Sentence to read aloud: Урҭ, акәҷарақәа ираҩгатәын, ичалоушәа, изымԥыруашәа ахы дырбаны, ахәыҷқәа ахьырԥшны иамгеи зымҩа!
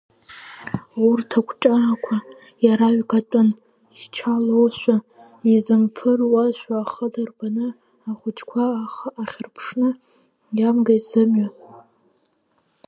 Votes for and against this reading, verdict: 0, 2, rejected